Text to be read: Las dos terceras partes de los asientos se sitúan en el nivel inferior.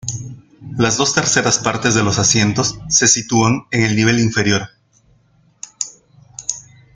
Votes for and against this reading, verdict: 1, 2, rejected